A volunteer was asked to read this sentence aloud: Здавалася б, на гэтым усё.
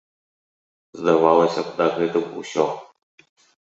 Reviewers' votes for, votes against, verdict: 2, 0, accepted